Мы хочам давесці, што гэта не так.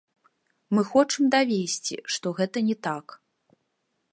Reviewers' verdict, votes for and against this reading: accepted, 2, 1